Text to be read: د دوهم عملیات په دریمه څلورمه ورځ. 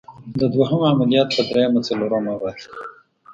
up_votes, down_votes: 1, 2